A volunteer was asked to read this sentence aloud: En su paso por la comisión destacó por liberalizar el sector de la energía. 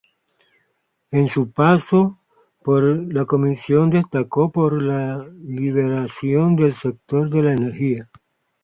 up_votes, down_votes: 0, 2